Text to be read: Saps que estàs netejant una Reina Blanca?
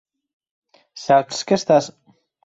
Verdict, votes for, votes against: rejected, 2, 4